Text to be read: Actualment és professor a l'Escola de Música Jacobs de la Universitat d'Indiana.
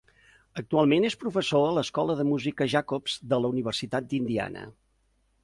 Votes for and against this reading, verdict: 2, 0, accepted